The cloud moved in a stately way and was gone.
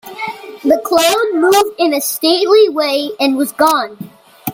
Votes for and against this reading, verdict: 2, 1, accepted